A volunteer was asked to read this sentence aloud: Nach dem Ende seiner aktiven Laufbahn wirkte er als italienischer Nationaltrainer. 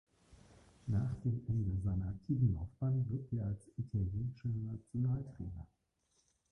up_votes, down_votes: 1, 2